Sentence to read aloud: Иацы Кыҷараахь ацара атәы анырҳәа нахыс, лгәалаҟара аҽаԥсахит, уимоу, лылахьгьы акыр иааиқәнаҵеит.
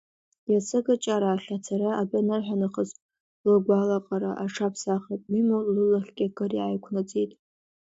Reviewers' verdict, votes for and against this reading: rejected, 1, 2